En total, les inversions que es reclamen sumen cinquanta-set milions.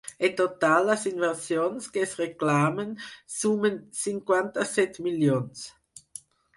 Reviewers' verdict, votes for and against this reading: accepted, 4, 0